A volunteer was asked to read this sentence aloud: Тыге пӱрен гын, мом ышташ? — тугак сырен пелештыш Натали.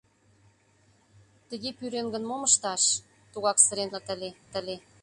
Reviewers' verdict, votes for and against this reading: rejected, 0, 2